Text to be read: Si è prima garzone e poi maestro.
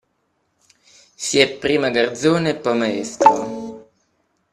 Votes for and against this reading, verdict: 2, 1, accepted